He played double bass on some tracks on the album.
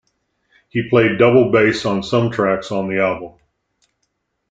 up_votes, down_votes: 2, 0